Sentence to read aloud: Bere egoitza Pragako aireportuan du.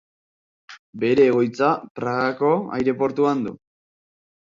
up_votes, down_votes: 2, 0